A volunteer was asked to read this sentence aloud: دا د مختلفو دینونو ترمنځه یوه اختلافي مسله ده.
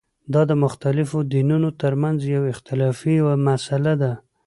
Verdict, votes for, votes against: accepted, 2, 0